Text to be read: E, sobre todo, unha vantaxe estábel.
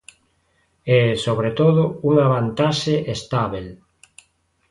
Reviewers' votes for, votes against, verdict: 2, 0, accepted